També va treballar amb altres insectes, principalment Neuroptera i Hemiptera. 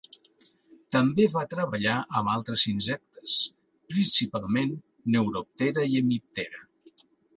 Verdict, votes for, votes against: accepted, 2, 0